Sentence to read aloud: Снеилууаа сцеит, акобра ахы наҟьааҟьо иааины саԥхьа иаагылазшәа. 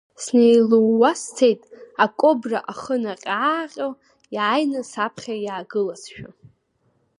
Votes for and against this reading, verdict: 2, 0, accepted